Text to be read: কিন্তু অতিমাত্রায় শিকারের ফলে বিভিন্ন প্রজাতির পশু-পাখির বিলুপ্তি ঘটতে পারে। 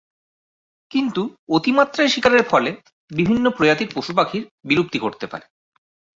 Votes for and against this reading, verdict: 2, 2, rejected